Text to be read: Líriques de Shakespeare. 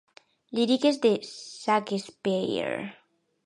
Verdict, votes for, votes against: rejected, 0, 2